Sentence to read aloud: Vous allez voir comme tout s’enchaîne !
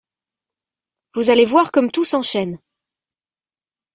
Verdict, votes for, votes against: accepted, 2, 0